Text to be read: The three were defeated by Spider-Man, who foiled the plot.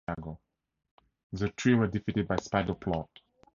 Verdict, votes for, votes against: rejected, 0, 4